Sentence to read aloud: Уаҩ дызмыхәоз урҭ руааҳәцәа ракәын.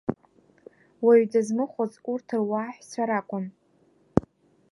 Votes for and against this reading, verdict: 2, 1, accepted